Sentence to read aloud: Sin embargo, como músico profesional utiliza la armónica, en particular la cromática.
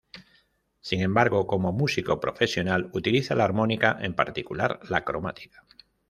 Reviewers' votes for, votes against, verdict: 2, 0, accepted